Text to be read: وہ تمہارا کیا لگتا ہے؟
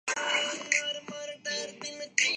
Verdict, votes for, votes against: rejected, 0, 2